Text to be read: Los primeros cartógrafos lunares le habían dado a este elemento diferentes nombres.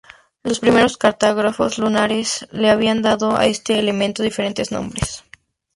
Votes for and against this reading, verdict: 2, 2, rejected